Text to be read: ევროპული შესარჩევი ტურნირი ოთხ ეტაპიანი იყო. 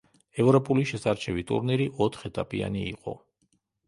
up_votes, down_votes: 2, 0